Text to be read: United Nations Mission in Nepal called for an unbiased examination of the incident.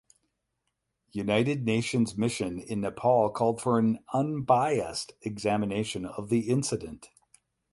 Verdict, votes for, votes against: accepted, 8, 0